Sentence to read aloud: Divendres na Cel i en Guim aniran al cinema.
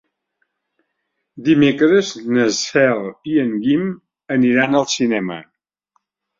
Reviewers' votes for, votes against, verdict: 2, 3, rejected